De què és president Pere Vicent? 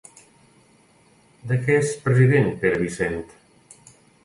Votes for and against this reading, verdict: 2, 0, accepted